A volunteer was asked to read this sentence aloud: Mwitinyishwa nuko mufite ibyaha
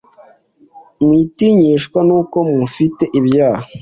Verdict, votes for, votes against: accepted, 2, 0